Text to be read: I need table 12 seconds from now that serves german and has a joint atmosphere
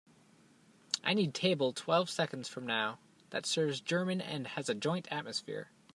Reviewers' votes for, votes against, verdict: 0, 2, rejected